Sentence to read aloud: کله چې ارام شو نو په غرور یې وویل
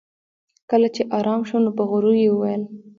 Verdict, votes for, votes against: accepted, 2, 0